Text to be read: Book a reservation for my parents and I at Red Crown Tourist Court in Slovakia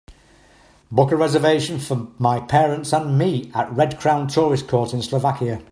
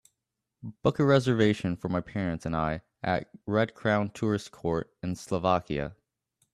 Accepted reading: second